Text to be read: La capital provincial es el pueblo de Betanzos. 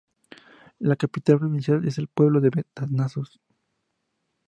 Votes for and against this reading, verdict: 0, 2, rejected